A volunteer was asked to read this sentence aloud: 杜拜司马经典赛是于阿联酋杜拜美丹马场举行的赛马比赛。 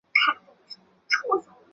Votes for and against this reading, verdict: 0, 3, rejected